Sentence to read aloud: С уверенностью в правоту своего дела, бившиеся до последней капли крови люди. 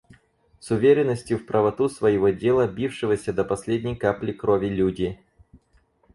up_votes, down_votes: 0, 4